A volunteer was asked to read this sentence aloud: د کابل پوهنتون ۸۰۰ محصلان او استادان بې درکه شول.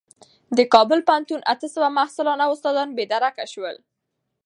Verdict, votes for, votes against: rejected, 0, 2